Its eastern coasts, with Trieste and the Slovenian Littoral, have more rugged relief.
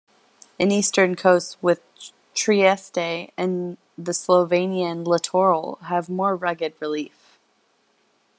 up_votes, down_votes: 1, 2